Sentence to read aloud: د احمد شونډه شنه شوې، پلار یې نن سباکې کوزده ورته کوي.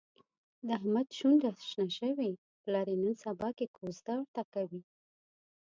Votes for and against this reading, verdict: 2, 0, accepted